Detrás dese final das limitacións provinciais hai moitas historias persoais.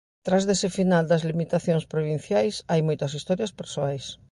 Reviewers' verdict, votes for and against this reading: rejected, 0, 4